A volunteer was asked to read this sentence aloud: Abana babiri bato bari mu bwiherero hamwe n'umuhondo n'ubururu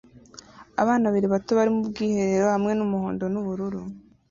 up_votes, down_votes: 2, 0